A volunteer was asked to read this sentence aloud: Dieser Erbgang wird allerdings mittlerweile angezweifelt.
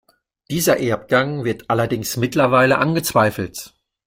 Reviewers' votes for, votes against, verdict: 2, 0, accepted